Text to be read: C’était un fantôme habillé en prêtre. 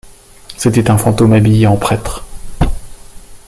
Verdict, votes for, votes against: accepted, 2, 0